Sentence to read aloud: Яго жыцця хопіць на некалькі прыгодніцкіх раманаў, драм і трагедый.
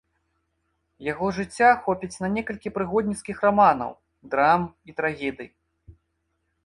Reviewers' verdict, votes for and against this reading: accepted, 4, 0